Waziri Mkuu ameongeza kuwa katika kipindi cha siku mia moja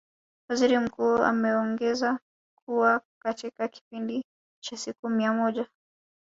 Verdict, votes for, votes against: rejected, 0, 2